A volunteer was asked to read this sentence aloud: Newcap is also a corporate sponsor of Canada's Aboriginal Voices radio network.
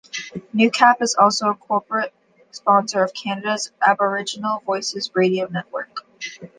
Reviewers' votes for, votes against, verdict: 2, 0, accepted